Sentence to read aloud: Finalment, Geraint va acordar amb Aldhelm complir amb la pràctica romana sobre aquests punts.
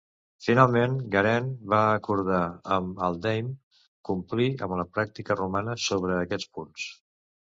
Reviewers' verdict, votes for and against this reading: rejected, 1, 2